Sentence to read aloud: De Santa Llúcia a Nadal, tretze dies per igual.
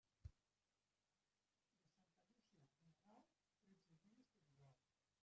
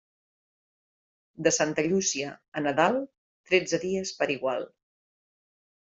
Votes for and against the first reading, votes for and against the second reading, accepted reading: 0, 2, 3, 0, second